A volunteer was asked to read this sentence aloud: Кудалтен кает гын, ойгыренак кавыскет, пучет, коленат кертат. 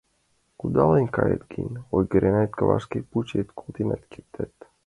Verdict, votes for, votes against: rejected, 0, 2